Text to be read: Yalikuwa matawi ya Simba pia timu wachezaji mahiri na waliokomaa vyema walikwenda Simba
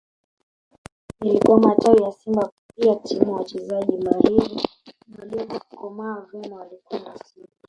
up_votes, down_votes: 0, 2